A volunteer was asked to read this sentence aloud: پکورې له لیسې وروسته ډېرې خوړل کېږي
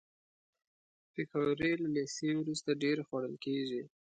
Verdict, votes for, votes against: accepted, 2, 0